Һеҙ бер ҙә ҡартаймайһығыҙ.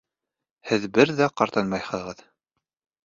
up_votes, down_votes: 2, 1